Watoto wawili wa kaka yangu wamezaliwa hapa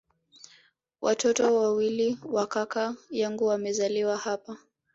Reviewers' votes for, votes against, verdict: 3, 1, accepted